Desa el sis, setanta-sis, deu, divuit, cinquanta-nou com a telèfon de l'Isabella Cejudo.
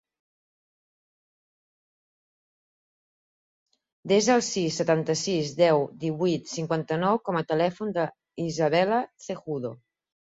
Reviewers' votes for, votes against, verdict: 4, 6, rejected